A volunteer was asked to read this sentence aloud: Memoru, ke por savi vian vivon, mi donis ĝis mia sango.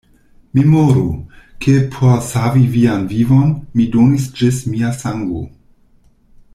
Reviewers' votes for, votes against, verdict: 2, 0, accepted